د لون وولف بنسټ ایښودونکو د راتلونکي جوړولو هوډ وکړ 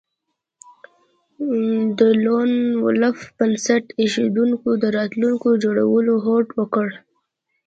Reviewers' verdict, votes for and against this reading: accepted, 2, 0